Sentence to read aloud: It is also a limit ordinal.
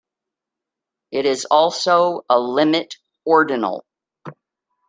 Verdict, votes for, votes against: accepted, 3, 0